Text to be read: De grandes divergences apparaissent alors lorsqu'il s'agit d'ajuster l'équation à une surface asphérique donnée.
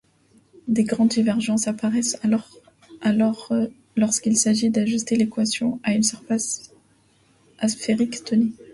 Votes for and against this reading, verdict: 0, 2, rejected